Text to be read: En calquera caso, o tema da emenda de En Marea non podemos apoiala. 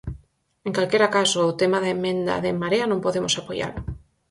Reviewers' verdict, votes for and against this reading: rejected, 2, 2